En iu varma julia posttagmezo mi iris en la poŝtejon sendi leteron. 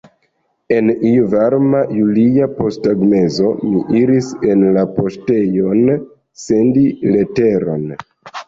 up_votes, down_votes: 2, 0